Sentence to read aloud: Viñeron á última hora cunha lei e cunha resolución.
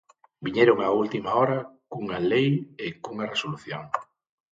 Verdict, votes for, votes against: accepted, 6, 0